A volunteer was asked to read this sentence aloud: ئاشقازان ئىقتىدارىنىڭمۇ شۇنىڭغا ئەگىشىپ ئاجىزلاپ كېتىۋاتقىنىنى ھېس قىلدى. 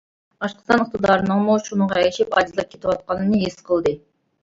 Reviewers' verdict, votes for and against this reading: rejected, 1, 2